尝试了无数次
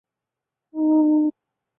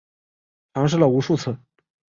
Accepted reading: second